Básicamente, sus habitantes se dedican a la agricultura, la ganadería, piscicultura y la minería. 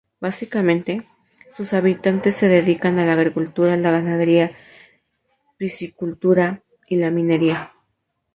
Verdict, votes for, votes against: rejected, 0, 2